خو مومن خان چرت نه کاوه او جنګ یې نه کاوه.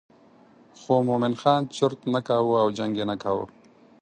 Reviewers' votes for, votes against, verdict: 8, 0, accepted